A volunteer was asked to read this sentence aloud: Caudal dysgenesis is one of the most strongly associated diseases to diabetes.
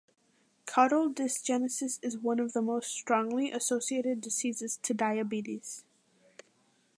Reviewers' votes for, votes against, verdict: 2, 0, accepted